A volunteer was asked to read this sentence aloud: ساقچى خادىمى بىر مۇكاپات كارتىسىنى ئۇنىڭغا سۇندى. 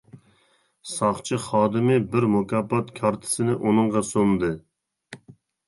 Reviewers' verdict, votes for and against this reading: accepted, 2, 0